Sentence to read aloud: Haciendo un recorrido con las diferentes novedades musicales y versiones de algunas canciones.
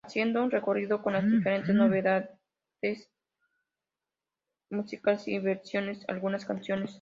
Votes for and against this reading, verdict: 0, 2, rejected